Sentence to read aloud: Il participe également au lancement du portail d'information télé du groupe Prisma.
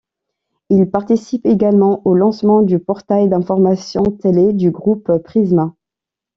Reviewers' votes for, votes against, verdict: 2, 1, accepted